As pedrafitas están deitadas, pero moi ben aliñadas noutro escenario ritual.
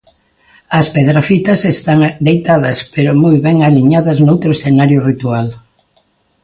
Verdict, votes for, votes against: accepted, 2, 1